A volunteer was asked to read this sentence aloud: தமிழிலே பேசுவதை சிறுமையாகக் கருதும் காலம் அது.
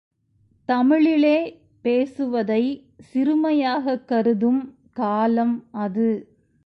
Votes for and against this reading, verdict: 2, 0, accepted